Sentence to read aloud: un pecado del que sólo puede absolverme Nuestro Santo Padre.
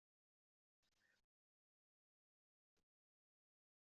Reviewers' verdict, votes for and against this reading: rejected, 0, 2